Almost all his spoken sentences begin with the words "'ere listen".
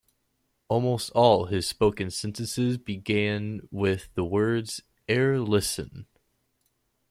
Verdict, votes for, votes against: accepted, 2, 1